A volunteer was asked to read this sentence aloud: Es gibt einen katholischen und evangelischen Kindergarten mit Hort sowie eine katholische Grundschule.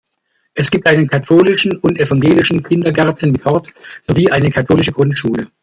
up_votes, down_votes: 1, 2